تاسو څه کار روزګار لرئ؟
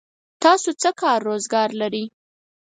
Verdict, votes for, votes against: accepted, 4, 0